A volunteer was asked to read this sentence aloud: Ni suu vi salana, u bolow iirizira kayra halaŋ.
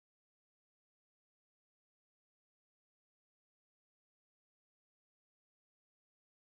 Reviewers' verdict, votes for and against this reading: rejected, 0, 2